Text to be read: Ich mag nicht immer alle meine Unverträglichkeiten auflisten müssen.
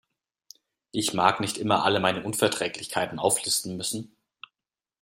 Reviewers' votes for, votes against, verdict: 2, 0, accepted